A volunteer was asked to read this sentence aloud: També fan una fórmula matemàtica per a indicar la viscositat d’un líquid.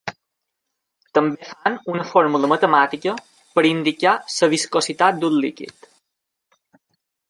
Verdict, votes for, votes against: accepted, 2, 0